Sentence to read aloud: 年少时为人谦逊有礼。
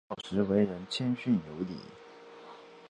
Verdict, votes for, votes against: rejected, 1, 2